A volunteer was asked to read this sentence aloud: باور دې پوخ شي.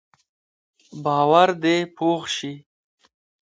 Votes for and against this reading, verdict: 2, 0, accepted